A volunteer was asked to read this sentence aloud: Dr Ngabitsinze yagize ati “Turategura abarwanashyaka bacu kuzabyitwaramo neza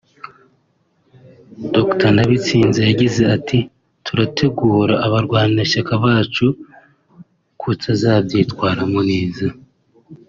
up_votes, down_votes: 1, 2